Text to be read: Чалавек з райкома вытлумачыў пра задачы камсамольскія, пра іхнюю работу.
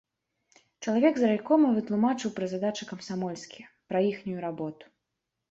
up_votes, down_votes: 1, 2